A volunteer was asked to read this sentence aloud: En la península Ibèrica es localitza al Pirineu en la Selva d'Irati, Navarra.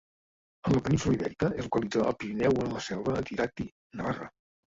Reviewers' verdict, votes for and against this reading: rejected, 0, 2